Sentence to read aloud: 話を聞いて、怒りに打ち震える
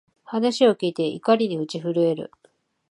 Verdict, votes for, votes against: accepted, 16, 2